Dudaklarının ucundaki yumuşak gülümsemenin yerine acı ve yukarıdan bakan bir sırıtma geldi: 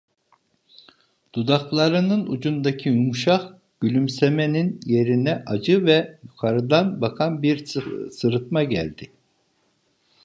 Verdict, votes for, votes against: rejected, 1, 2